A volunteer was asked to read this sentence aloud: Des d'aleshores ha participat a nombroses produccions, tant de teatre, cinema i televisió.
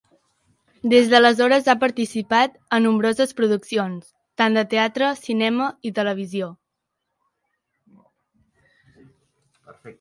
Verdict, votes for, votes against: accepted, 3, 1